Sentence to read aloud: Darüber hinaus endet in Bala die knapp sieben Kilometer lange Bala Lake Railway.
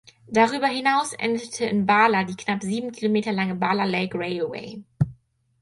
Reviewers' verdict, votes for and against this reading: rejected, 2, 4